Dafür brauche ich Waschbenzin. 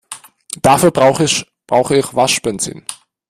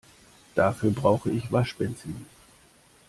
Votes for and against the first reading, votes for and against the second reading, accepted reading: 1, 2, 2, 0, second